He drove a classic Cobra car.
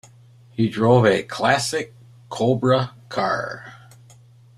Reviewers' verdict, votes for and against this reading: accepted, 2, 0